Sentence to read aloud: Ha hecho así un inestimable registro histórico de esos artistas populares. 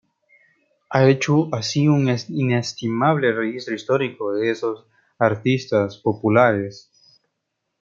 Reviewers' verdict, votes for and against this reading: rejected, 0, 2